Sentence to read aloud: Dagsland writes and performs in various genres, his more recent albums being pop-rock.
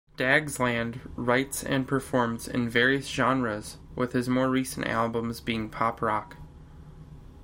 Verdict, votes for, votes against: rejected, 1, 2